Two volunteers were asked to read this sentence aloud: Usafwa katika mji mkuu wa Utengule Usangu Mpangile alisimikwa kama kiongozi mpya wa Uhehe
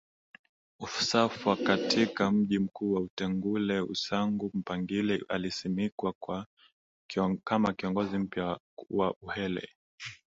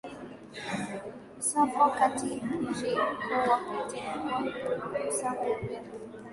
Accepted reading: first